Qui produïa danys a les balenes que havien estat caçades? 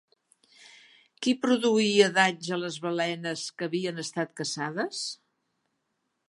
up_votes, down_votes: 2, 0